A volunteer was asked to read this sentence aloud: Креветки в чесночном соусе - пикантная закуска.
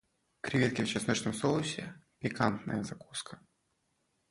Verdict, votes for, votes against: accepted, 2, 1